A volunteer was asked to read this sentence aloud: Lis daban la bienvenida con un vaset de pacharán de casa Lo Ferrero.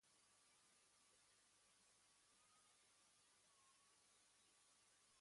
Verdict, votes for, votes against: rejected, 1, 2